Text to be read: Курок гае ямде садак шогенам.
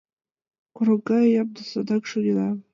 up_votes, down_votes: 1, 2